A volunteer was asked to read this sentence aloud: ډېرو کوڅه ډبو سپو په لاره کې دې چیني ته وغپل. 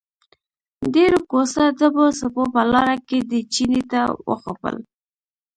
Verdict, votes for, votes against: rejected, 1, 3